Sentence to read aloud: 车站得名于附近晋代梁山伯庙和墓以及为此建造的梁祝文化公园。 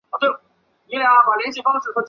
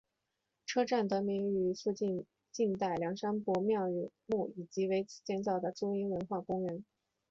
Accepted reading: second